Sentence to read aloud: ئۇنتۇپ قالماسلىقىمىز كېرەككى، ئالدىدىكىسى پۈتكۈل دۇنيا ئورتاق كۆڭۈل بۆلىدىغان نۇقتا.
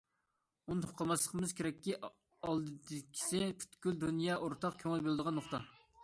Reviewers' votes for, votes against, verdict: 2, 1, accepted